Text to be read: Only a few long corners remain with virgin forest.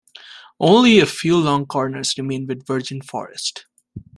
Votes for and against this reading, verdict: 2, 0, accepted